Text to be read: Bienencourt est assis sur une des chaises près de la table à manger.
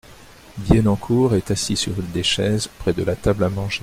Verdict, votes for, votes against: accepted, 2, 0